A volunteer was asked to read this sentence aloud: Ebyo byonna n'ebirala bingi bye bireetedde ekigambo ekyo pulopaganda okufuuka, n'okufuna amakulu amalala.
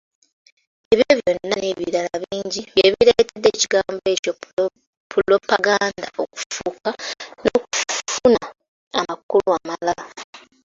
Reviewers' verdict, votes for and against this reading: rejected, 0, 2